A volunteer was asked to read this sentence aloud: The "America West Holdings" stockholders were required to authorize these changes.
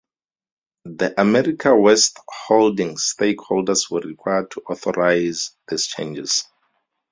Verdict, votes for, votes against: rejected, 0, 2